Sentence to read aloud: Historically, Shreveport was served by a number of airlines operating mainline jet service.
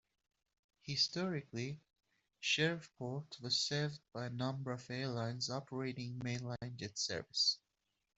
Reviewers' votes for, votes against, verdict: 0, 2, rejected